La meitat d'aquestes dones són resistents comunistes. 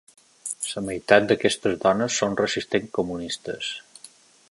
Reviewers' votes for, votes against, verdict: 2, 1, accepted